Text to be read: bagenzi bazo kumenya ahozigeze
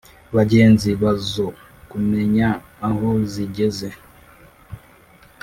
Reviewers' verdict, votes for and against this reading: rejected, 0, 2